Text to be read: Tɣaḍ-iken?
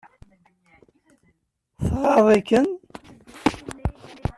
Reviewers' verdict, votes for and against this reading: accepted, 2, 0